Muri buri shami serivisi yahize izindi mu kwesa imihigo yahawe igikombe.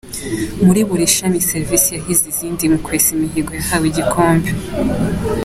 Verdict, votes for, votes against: accepted, 2, 0